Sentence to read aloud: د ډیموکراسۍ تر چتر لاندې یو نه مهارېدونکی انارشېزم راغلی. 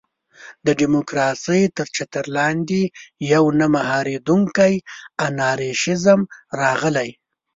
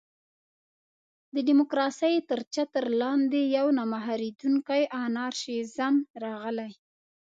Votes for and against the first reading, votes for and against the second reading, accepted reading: 1, 2, 2, 1, second